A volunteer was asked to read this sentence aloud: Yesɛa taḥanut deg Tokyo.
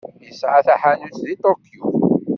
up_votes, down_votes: 0, 2